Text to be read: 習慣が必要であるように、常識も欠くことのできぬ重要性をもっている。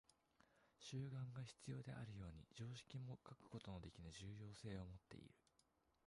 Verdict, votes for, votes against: rejected, 0, 2